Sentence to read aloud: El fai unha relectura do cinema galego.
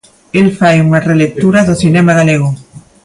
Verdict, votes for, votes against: accepted, 2, 1